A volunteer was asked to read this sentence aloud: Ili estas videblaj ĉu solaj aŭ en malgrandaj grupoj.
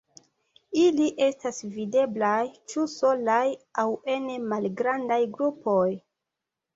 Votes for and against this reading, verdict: 2, 0, accepted